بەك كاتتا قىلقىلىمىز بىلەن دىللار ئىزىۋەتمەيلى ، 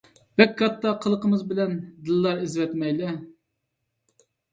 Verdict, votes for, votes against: accepted, 2, 1